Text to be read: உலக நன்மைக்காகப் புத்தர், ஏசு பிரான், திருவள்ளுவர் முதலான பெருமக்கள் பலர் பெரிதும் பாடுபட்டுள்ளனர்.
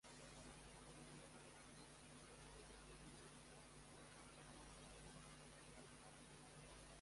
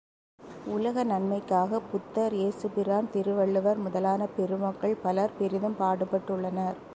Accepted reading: second